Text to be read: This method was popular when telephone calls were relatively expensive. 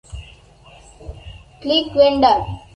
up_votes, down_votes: 0, 2